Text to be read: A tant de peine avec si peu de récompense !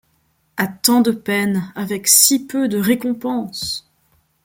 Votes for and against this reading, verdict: 2, 0, accepted